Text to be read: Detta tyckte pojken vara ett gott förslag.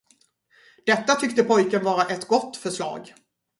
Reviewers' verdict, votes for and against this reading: accepted, 4, 0